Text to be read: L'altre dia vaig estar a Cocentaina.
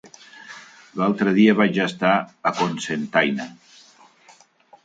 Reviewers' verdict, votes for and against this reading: rejected, 2, 3